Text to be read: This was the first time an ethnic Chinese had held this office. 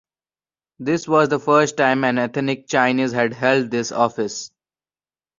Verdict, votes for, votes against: accepted, 2, 0